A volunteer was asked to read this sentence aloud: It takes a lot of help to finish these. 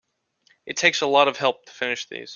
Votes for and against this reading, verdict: 2, 0, accepted